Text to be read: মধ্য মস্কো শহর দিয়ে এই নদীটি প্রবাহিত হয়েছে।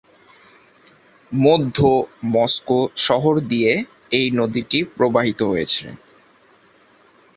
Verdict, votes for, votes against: accepted, 2, 0